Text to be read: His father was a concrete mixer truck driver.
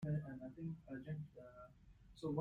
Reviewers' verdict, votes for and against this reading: rejected, 0, 2